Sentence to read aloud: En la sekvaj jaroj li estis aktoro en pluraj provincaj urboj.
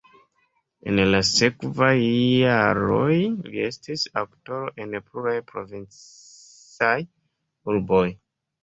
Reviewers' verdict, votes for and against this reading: rejected, 1, 3